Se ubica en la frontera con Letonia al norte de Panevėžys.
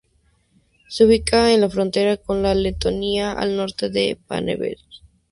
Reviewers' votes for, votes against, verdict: 0, 2, rejected